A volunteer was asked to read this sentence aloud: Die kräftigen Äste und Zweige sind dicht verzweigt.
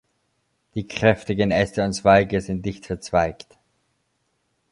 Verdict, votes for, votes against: accepted, 2, 0